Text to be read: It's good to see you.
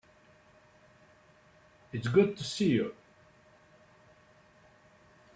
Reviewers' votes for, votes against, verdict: 3, 0, accepted